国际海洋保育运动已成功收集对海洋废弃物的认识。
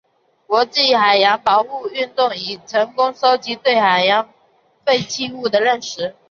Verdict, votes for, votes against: rejected, 0, 4